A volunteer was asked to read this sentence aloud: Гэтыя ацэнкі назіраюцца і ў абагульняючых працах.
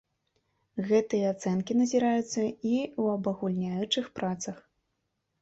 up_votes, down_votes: 2, 0